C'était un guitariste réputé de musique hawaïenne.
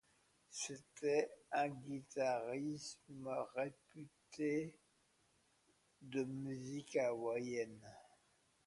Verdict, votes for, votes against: accepted, 2, 1